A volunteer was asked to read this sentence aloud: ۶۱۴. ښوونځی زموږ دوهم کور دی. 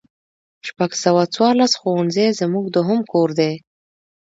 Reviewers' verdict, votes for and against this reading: rejected, 0, 2